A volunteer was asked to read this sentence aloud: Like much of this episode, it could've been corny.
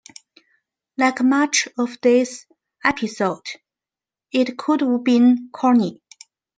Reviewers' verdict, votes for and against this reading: accepted, 2, 0